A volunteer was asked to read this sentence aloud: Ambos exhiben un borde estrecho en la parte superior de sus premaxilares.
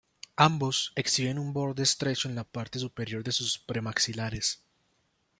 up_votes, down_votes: 2, 1